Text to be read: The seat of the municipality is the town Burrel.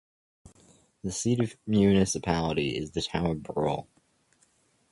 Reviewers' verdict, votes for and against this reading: accepted, 2, 1